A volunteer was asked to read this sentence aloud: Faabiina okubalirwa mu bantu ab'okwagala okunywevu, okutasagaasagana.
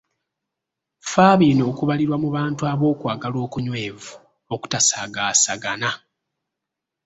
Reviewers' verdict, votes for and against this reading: rejected, 0, 2